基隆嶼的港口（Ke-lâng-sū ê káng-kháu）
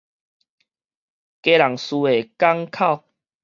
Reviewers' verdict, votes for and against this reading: accepted, 2, 0